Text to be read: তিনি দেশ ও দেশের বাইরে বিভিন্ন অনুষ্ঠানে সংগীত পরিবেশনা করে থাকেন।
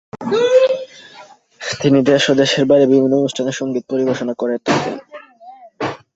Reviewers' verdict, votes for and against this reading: rejected, 3, 3